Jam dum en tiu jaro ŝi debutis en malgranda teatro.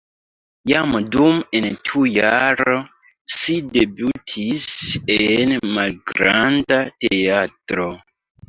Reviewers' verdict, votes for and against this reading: rejected, 2, 4